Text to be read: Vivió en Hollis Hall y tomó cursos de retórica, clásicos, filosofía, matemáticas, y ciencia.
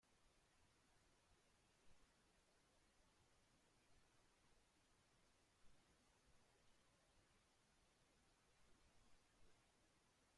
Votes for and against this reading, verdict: 0, 2, rejected